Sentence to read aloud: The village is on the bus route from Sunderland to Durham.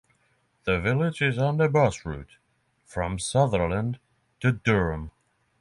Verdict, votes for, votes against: accepted, 6, 0